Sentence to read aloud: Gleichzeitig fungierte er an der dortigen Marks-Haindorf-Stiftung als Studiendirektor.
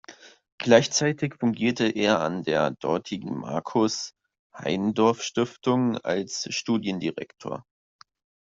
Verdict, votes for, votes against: rejected, 0, 2